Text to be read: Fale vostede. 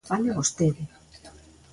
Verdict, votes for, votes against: accepted, 3, 0